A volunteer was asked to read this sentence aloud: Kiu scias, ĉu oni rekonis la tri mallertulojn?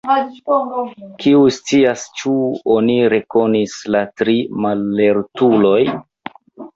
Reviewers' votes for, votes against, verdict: 0, 2, rejected